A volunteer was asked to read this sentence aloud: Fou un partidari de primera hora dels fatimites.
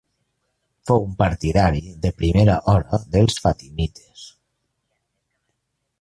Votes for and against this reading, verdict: 0, 2, rejected